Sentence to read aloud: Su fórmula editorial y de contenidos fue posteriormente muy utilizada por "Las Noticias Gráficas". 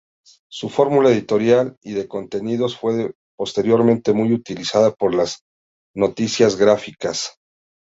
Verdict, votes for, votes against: rejected, 1, 2